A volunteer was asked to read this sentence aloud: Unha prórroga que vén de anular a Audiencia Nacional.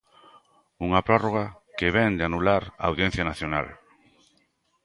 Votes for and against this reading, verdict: 2, 0, accepted